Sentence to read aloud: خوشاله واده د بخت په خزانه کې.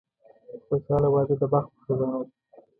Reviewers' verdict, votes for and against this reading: accepted, 2, 1